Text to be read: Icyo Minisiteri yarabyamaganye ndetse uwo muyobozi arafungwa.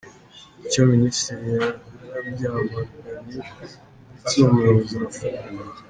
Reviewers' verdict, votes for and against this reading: rejected, 1, 2